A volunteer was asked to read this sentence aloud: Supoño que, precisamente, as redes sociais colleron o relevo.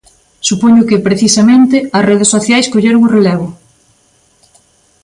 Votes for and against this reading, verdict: 2, 0, accepted